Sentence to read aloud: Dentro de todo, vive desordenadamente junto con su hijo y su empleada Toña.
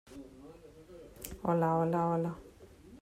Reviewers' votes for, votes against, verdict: 0, 2, rejected